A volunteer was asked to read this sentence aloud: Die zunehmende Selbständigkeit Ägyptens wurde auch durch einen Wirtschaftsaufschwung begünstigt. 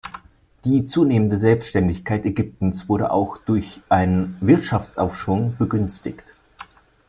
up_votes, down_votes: 2, 0